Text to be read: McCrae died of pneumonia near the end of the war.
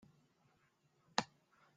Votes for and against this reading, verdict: 0, 2, rejected